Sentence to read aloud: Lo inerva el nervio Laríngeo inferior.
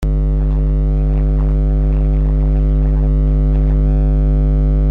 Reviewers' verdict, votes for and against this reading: rejected, 0, 2